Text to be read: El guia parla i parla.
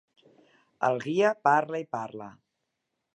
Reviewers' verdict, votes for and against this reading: accepted, 3, 0